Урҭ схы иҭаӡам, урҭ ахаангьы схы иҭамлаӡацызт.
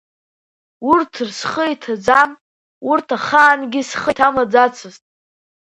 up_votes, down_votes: 2, 0